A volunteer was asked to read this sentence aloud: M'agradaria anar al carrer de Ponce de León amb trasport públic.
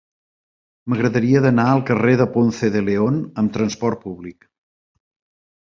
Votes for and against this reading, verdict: 2, 1, accepted